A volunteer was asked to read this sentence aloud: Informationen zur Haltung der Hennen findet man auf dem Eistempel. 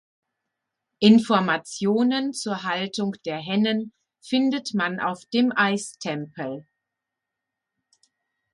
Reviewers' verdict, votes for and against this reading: rejected, 0, 2